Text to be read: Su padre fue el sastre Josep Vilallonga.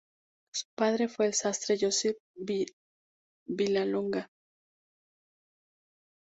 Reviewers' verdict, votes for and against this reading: rejected, 0, 4